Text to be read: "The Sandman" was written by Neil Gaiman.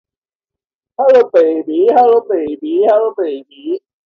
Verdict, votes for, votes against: rejected, 0, 2